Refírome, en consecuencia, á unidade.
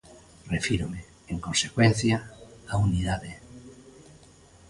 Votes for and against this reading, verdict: 2, 0, accepted